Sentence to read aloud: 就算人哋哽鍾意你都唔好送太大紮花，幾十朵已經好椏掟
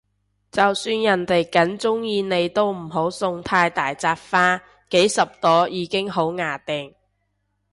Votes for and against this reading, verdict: 1, 2, rejected